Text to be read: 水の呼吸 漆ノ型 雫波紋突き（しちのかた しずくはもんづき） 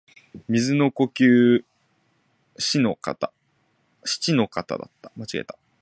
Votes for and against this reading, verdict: 0, 2, rejected